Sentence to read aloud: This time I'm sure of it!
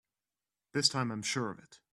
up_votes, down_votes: 4, 0